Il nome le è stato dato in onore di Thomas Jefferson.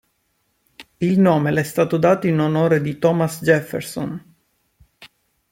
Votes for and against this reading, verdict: 2, 0, accepted